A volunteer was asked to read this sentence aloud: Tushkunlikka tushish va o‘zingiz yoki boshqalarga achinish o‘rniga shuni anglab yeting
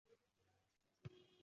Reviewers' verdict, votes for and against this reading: rejected, 0, 2